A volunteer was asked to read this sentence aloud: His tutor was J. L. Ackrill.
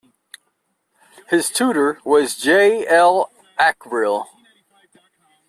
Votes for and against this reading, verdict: 2, 0, accepted